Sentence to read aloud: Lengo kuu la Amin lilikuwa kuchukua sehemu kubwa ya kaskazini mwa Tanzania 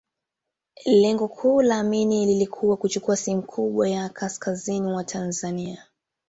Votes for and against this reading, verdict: 2, 0, accepted